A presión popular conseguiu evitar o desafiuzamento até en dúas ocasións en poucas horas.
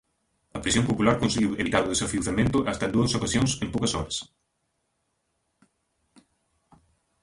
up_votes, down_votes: 0, 2